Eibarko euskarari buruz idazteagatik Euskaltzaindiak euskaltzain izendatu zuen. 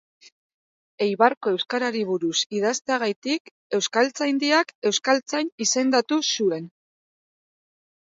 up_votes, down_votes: 4, 0